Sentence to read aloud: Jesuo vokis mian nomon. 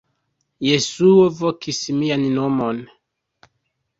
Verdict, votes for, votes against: rejected, 1, 2